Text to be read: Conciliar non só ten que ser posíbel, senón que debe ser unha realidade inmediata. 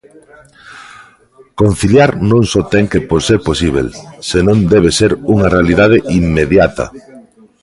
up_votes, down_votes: 0, 2